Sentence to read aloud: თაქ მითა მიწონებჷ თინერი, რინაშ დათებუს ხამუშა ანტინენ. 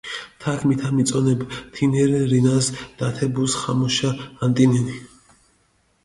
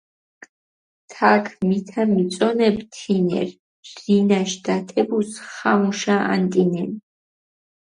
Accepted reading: second